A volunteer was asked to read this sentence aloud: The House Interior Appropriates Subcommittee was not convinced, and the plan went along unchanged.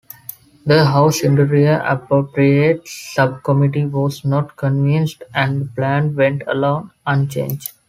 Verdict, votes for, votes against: accepted, 2, 0